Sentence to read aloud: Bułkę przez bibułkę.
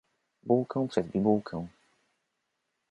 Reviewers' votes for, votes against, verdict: 2, 1, accepted